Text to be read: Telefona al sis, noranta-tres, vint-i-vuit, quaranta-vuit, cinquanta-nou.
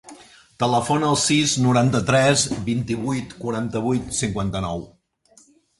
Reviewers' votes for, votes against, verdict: 3, 0, accepted